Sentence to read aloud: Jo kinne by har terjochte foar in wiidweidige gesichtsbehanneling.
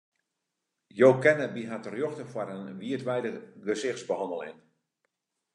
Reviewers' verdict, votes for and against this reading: accepted, 2, 0